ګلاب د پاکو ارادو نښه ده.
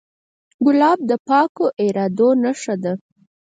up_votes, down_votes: 2, 4